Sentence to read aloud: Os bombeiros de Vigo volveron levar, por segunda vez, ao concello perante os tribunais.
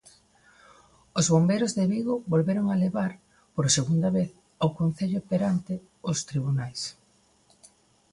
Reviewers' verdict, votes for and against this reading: rejected, 0, 2